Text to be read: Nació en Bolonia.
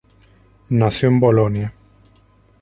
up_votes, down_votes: 0, 2